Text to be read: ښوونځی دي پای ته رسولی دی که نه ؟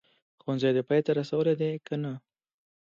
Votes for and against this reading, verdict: 2, 0, accepted